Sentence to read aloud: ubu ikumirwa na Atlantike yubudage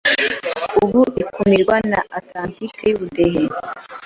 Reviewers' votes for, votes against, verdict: 0, 2, rejected